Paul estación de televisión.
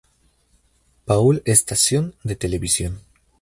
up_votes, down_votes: 2, 0